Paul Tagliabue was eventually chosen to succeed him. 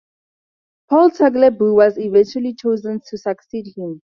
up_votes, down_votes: 2, 0